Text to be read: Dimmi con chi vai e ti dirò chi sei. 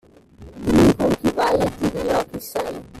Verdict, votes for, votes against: rejected, 1, 2